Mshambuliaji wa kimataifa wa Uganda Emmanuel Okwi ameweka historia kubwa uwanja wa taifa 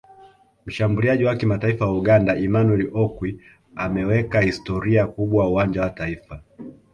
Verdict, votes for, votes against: accepted, 2, 0